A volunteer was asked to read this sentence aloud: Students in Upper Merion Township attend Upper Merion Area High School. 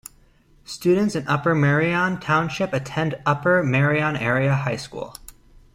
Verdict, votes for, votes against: accepted, 2, 0